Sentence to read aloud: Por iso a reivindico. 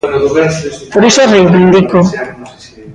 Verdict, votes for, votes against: rejected, 0, 2